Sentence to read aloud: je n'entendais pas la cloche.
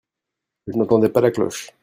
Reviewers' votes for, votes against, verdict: 2, 0, accepted